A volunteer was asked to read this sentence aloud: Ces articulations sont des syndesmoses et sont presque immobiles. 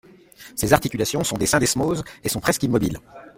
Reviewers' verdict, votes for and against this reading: accepted, 2, 0